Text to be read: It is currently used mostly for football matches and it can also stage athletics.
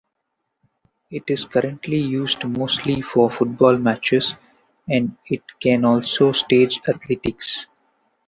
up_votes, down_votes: 2, 1